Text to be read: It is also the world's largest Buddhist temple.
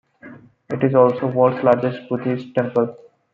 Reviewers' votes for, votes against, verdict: 2, 0, accepted